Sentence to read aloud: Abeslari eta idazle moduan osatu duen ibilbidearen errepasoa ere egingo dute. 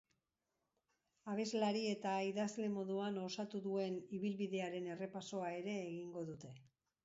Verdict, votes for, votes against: rejected, 0, 4